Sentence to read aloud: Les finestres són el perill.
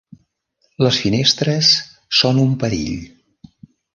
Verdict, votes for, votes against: rejected, 1, 2